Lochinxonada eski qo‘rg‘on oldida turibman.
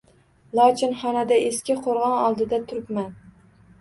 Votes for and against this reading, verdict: 2, 0, accepted